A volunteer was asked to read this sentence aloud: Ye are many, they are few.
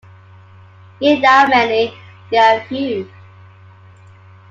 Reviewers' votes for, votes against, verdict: 1, 2, rejected